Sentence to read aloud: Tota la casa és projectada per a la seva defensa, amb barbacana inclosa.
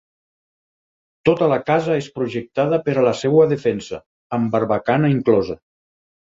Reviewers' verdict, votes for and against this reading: rejected, 2, 4